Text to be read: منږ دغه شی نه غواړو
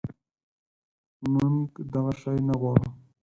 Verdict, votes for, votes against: accepted, 4, 2